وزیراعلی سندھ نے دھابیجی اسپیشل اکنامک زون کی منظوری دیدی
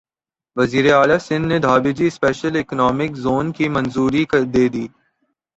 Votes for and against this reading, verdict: 0, 2, rejected